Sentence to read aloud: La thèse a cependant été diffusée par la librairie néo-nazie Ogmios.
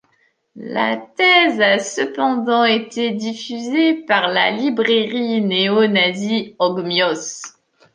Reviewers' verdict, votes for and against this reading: accepted, 2, 1